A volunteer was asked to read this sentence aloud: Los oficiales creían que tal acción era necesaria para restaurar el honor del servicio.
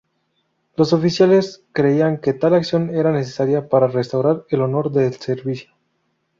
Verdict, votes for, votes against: accepted, 2, 0